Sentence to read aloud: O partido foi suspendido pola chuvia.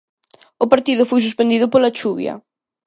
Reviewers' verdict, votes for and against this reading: accepted, 2, 0